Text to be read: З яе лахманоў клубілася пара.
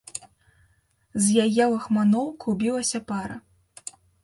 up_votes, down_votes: 2, 0